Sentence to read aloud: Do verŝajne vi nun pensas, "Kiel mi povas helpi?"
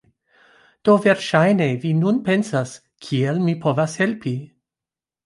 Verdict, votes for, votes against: rejected, 1, 2